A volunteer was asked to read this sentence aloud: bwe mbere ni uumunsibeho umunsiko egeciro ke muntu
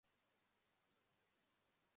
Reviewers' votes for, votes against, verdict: 0, 3, rejected